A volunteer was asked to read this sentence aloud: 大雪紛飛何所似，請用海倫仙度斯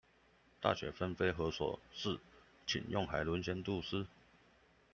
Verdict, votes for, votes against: accepted, 2, 0